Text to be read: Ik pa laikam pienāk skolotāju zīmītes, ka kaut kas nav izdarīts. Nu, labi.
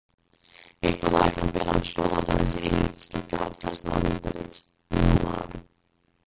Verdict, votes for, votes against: rejected, 0, 2